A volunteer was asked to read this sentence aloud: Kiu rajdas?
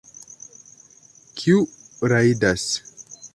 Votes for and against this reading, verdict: 2, 0, accepted